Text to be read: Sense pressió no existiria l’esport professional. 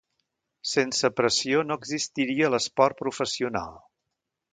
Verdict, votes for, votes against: accepted, 2, 0